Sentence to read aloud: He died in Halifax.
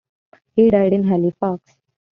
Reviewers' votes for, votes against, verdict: 2, 1, accepted